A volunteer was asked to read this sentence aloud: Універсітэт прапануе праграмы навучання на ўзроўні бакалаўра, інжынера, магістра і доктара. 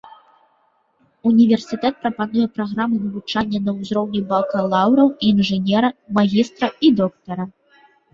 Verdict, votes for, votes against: accepted, 2, 0